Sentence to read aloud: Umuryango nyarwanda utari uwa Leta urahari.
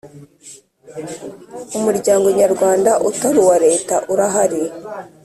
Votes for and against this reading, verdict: 2, 0, accepted